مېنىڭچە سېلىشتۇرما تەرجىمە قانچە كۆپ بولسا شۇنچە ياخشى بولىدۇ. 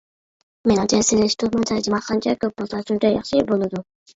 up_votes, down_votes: 0, 2